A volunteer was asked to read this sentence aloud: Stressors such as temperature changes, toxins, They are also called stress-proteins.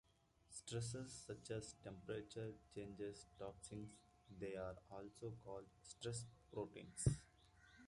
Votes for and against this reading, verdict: 0, 2, rejected